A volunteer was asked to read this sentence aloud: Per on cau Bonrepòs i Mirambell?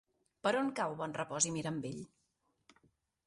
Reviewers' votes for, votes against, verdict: 2, 0, accepted